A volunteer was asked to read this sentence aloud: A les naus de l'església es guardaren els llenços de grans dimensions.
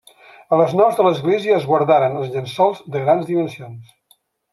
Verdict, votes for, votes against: rejected, 1, 2